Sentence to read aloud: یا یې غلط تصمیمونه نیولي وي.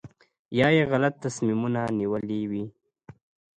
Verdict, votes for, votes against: accepted, 2, 1